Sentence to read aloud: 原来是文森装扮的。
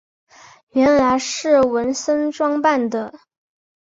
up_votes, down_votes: 4, 0